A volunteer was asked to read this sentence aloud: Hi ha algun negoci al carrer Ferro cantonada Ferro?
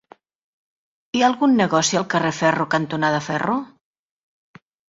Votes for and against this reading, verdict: 3, 0, accepted